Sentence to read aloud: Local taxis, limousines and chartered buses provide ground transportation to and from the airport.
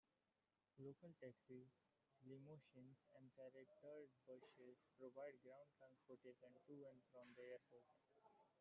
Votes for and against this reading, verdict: 0, 2, rejected